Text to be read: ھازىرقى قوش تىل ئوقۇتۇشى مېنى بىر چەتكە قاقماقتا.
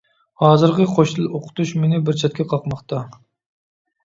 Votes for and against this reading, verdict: 1, 2, rejected